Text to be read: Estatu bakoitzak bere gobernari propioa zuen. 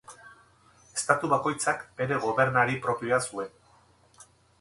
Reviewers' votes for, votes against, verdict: 2, 0, accepted